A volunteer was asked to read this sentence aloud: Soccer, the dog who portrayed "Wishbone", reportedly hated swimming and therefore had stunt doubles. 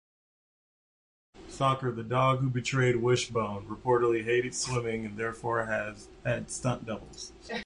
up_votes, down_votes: 0, 2